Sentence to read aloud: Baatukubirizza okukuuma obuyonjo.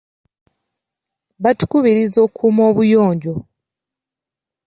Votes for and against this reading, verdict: 0, 2, rejected